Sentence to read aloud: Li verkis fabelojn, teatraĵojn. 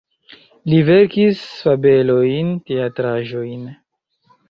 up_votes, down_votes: 2, 1